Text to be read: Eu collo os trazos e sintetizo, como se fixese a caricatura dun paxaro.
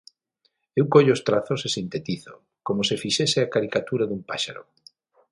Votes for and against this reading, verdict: 0, 6, rejected